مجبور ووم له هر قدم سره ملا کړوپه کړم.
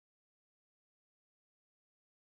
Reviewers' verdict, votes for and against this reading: rejected, 0, 2